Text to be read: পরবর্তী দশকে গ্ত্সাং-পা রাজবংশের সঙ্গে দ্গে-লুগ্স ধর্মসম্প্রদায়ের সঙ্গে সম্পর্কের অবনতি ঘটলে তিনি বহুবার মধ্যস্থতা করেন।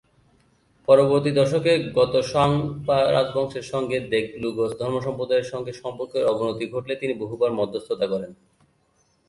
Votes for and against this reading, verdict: 0, 2, rejected